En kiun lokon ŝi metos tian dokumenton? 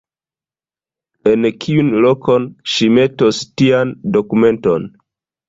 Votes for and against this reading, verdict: 2, 0, accepted